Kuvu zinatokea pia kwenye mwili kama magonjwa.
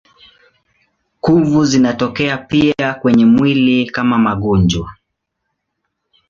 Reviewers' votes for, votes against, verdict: 2, 0, accepted